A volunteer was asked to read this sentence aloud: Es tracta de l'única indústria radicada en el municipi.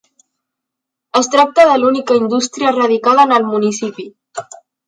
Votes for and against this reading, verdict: 3, 0, accepted